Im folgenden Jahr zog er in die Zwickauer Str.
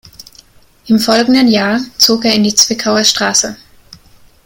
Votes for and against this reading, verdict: 2, 0, accepted